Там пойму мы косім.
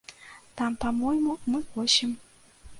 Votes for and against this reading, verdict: 1, 2, rejected